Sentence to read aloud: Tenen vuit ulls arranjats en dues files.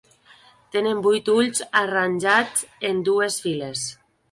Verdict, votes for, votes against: accepted, 2, 0